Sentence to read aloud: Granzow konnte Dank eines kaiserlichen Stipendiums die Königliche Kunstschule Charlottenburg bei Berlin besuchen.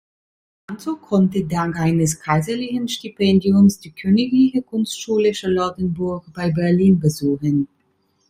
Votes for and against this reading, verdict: 1, 2, rejected